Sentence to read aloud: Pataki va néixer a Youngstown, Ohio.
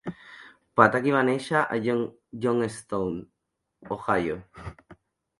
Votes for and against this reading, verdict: 1, 2, rejected